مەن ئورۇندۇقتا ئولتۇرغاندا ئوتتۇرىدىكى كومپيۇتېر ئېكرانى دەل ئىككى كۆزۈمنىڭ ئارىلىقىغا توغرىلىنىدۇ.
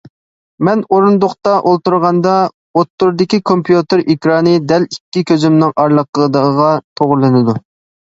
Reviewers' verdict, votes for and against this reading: rejected, 0, 2